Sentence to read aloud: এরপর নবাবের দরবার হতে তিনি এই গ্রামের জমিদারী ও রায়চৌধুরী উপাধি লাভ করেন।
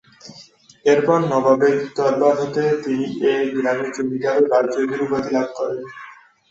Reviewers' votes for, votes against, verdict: 2, 0, accepted